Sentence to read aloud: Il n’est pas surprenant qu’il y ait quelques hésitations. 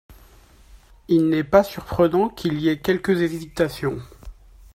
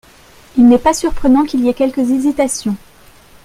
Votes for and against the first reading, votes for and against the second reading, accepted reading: 1, 2, 2, 0, second